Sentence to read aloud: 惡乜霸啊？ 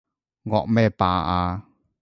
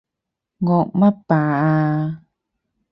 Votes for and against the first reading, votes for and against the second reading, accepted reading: 1, 2, 4, 0, second